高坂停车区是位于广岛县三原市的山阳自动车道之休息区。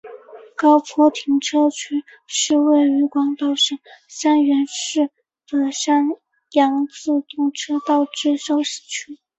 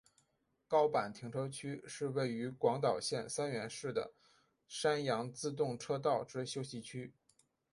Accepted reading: second